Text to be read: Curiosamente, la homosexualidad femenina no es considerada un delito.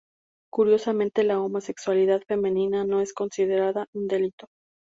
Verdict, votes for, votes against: accepted, 2, 0